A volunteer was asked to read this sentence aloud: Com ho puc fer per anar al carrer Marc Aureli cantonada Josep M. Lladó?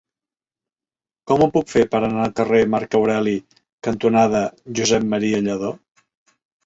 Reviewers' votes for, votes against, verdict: 1, 3, rejected